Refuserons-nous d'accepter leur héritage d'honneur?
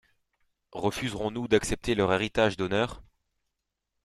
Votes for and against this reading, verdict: 2, 0, accepted